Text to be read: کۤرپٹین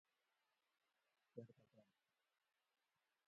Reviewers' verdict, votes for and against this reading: rejected, 0, 2